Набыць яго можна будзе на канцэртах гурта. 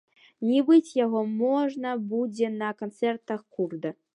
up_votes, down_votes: 1, 2